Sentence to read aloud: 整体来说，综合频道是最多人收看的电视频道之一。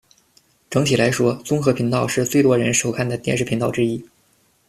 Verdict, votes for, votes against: accepted, 2, 0